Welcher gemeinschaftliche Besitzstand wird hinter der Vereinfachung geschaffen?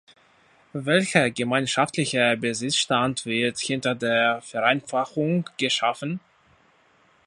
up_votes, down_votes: 2, 0